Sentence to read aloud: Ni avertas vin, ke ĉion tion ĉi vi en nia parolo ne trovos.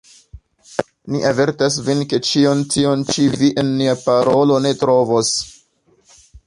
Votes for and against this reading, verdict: 2, 1, accepted